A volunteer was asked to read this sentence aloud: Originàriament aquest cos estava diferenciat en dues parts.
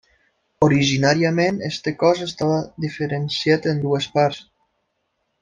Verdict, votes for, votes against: rejected, 0, 2